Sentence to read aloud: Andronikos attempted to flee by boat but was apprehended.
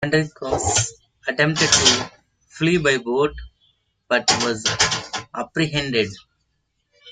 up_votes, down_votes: 2, 1